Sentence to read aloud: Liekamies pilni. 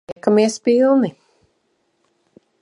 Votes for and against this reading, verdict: 0, 2, rejected